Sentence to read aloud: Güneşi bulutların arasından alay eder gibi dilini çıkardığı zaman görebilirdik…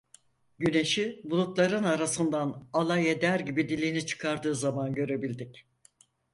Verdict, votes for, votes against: rejected, 2, 4